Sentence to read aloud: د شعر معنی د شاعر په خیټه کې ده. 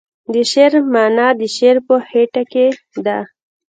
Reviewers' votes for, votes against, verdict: 1, 2, rejected